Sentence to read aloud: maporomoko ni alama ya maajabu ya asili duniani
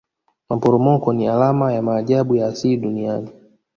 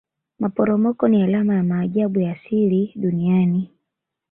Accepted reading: second